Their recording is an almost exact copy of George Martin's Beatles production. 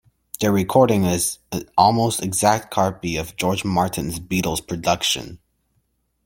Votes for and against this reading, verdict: 0, 2, rejected